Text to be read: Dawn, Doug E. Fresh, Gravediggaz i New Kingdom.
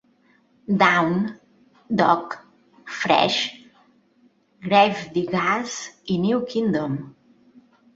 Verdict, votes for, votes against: rejected, 0, 2